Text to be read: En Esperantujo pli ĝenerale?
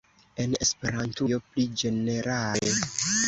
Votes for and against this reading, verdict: 2, 1, accepted